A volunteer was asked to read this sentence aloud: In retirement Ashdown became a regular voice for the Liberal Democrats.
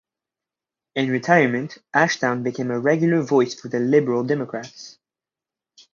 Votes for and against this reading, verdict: 4, 4, rejected